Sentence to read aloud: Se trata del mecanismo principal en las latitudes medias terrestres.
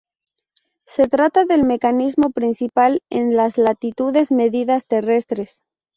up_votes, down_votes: 2, 2